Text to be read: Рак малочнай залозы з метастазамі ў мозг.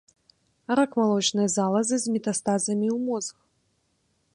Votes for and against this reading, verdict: 0, 2, rejected